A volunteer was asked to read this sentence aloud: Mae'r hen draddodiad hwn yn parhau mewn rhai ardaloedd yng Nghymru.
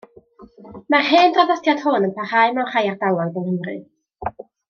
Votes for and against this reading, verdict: 1, 2, rejected